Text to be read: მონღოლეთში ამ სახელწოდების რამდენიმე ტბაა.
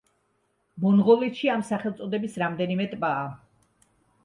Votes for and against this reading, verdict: 3, 0, accepted